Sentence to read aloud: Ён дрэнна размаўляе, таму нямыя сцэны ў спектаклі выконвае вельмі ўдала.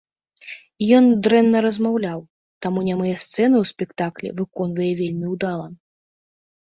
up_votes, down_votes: 1, 2